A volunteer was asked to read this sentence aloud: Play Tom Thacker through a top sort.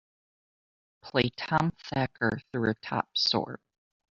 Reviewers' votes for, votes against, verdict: 3, 0, accepted